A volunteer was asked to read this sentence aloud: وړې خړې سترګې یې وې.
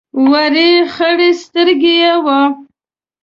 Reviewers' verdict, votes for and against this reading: accepted, 2, 0